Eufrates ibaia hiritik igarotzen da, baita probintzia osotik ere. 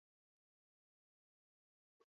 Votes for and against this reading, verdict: 0, 10, rejected